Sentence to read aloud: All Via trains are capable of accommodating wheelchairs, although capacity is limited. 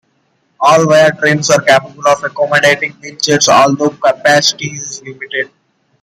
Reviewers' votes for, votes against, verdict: 0, 2, rejected